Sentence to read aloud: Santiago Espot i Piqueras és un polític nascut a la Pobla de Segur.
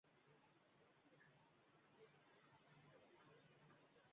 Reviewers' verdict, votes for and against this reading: rejected, 0, 2